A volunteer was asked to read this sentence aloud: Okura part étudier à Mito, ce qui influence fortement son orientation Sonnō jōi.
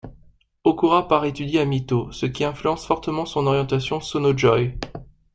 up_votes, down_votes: 2, 0